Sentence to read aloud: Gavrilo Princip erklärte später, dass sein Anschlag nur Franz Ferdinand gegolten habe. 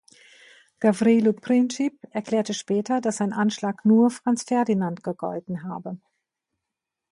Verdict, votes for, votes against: accepted, 2, 0